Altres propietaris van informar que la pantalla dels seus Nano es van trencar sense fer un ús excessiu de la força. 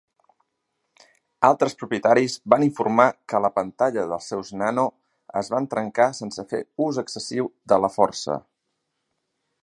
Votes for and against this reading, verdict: 0, 2, rejected